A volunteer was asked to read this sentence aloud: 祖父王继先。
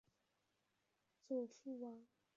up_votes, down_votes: 1, 2